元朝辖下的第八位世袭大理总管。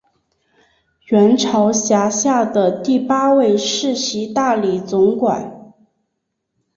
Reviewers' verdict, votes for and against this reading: accepted, 2, 1